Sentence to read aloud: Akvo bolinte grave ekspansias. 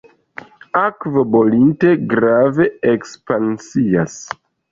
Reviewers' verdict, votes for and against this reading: accepted, 2, 0